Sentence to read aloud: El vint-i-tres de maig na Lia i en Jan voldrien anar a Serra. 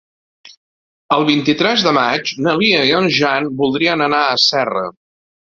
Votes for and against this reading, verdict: 2, 0, accepted